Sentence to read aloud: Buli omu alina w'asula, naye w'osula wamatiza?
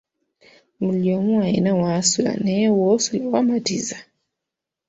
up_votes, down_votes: 2, 1